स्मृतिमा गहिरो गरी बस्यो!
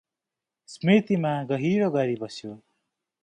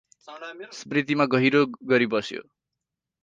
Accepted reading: first